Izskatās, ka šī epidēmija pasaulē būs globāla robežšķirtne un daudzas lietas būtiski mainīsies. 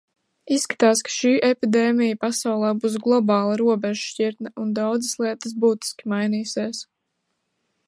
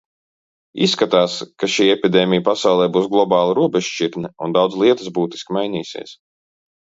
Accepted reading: first